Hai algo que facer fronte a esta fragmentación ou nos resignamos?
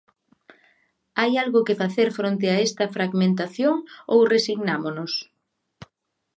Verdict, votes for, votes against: rejected, 1, 2